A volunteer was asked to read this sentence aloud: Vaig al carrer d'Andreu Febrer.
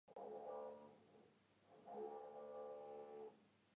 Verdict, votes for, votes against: rejected, 0, 2